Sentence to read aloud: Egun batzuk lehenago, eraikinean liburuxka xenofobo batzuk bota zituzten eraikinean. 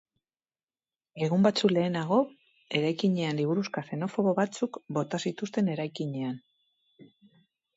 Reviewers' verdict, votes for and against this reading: accepted, 4, 0